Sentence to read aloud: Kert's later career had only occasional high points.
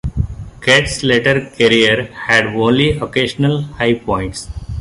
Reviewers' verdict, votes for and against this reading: accepted, 2, 0